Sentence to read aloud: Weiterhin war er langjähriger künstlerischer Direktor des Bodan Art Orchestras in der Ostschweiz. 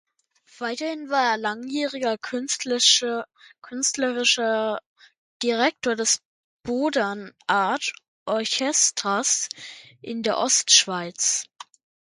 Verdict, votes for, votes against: rejected, 1, 2